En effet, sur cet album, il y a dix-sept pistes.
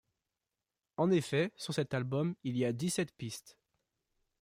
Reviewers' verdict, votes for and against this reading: accepted, 2, 0